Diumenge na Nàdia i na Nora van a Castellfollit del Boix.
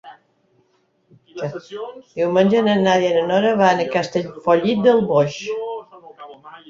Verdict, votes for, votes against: accepted, 4, 1